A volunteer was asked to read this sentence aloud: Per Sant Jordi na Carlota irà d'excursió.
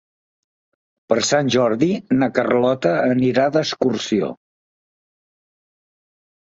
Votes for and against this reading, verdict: 0, 2, rejected